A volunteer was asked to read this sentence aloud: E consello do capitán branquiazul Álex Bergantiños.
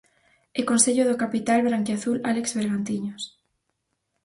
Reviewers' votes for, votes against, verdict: 2, 4, rejected